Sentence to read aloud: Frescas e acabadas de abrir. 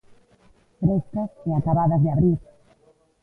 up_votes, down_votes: 0, 2